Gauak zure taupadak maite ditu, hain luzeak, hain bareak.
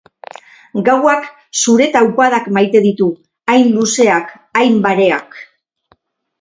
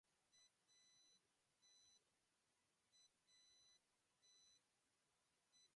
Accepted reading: first